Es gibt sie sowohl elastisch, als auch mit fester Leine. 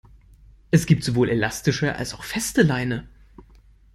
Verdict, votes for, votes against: rejected, 0, 2